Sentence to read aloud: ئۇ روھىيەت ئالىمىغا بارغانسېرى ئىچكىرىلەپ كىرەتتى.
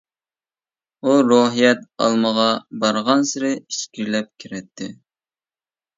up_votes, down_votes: 0, 2